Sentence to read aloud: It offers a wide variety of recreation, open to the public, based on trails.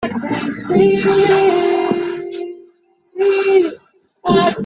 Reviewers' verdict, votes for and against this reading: rejected, 0, 2